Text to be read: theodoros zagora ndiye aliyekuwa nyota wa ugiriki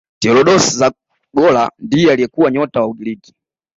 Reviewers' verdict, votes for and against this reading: accepted, 2, 1